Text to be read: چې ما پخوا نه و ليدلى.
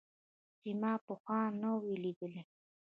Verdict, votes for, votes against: accepted, 4, 1